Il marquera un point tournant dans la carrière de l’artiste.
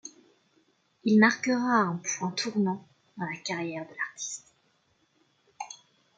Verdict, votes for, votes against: accepted, 2, 0